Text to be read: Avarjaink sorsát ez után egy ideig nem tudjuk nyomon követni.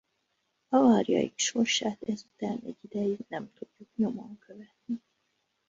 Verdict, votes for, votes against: rejected, 0, 2